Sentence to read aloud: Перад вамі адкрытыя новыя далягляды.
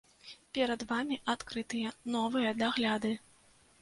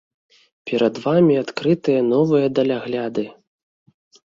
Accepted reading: second